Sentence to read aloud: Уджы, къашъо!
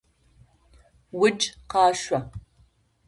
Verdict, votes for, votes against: rejected, 0, 2